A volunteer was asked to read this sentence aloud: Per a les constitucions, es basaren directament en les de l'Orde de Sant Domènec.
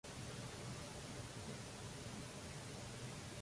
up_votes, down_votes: 0, 2